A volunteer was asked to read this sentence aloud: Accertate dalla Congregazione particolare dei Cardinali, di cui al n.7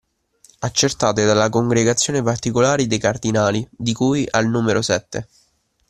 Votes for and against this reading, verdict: 0, 2, rejected